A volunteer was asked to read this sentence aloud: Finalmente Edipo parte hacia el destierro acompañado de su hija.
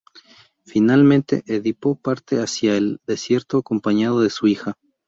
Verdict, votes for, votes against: rejected, 0, 4